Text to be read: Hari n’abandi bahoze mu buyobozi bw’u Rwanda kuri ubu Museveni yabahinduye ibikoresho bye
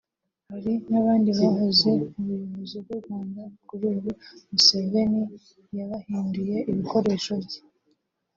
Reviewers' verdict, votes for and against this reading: accepted, 2, 0